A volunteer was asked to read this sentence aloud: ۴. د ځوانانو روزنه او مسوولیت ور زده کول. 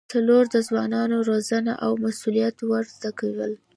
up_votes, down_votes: 0, 2